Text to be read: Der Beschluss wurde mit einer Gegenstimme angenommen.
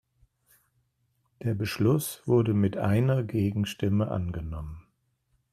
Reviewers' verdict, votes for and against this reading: accepted, 2, 1